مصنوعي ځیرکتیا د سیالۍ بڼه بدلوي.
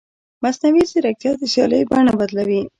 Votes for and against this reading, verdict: 1, 2, rejected